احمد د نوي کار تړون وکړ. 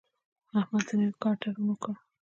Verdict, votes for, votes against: rejected, 0, 2